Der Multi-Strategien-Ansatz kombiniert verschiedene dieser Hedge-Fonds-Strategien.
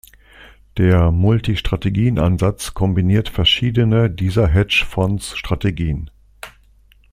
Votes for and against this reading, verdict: 0, 2, rejected